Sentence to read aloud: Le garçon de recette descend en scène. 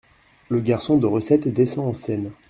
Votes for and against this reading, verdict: 2, 1, accepted